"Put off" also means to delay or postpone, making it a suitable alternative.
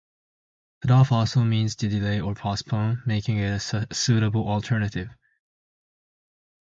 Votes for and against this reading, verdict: 2, 0, accepted